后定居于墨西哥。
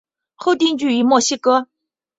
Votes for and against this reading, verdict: 2, 0, accepted